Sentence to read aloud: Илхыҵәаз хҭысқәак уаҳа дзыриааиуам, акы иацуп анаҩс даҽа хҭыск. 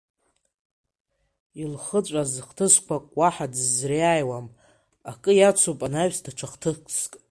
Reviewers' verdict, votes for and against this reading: rejected, 0, 2